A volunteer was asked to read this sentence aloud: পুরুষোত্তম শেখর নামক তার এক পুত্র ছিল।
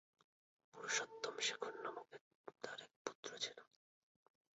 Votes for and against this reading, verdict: 2, 0, accepted